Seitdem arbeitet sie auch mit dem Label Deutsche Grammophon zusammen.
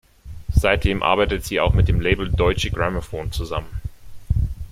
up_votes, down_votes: 3, 1